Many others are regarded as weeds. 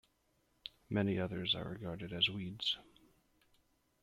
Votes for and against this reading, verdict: 2, 0, accepted